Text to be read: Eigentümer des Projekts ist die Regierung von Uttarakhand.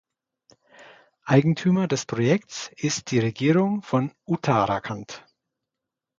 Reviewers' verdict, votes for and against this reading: accepted, 2, 0